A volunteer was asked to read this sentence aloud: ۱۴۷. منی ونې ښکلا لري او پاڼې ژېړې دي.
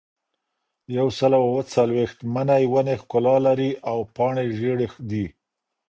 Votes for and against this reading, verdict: 0, 2, rejected